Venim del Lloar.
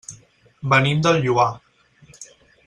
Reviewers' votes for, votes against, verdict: 4, 0, accepted